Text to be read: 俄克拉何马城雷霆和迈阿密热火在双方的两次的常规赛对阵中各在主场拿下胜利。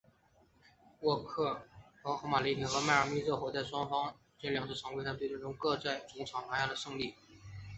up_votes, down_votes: 1, 4